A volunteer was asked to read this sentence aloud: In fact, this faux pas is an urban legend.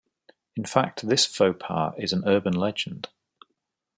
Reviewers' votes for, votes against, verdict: 2, 0, accepted